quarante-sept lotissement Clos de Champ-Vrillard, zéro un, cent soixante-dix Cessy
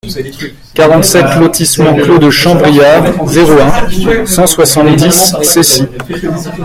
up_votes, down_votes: 0, 2